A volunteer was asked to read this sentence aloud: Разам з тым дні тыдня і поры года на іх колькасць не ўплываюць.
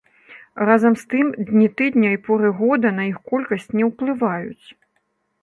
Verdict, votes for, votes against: rejected, 1, 2